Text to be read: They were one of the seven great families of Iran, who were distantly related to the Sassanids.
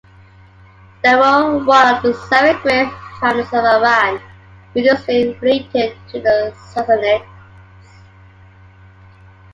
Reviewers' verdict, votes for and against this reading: rejected, 0, 2